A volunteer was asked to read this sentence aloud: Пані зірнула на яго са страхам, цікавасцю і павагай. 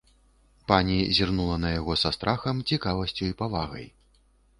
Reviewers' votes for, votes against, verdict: 2, 0, accepted